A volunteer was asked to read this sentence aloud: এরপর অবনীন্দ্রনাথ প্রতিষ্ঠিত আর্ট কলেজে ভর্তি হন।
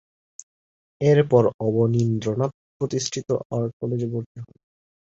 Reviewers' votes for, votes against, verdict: 1, 2, rejected